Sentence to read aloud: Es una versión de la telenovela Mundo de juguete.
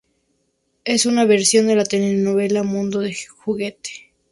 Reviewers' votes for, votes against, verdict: 2, 0, accepted